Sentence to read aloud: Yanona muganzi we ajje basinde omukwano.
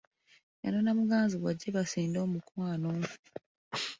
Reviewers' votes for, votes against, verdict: 3, 1, accepted